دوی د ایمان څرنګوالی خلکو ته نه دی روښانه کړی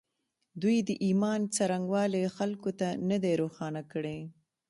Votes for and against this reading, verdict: 1, 2, rejected